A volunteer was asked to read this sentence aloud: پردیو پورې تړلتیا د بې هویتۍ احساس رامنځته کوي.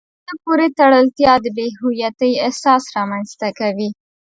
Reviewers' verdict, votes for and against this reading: rejected, 0, 2